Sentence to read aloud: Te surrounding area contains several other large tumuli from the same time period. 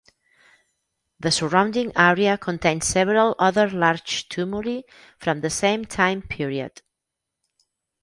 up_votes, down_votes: 0, 2